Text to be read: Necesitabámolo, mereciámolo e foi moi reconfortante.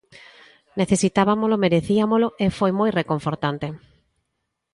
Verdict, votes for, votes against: rejected, 0, 2